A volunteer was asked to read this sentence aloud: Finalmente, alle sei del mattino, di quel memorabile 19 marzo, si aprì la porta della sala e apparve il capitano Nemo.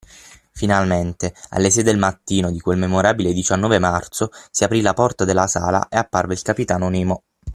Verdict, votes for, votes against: rejected, 0, 2